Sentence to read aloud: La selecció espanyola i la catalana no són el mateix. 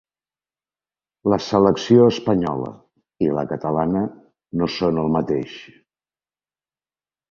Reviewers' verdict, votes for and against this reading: accepted, 3, 0